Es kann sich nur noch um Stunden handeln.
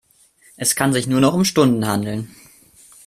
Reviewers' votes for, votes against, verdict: 2, 0, accepted